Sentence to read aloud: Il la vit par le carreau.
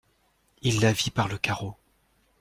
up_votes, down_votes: 2, 0